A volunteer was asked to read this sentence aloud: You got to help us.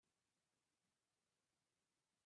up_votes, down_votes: 0, 2